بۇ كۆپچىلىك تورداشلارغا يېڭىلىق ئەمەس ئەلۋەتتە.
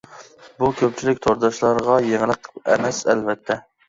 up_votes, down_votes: 2, 0